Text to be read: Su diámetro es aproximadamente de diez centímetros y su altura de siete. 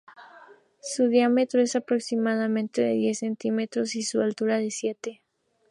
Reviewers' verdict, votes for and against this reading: accepted, 4, 0